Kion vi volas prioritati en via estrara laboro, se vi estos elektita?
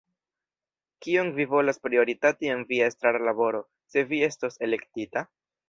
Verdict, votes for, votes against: rejected, 1, 3